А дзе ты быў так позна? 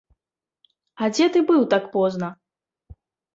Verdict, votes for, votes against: accepted, 2, 0